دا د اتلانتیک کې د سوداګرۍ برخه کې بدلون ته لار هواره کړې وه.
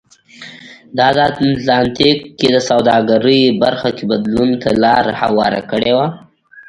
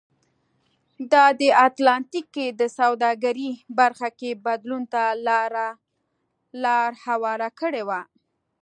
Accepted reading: second